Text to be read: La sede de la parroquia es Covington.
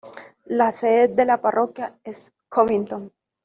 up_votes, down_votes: 2, 0